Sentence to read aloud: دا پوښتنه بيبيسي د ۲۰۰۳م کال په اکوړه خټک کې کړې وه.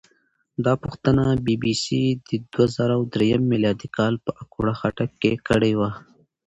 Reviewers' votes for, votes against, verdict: 0, 2, rejected